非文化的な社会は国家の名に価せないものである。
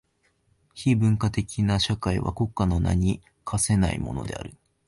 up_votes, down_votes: 2, 0